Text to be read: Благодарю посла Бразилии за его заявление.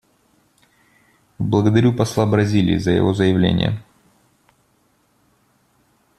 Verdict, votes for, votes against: accepted, 2, 0